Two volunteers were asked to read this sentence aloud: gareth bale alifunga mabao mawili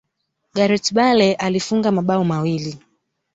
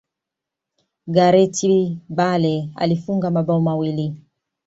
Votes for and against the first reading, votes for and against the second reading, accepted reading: 1, 2, 2, 0, second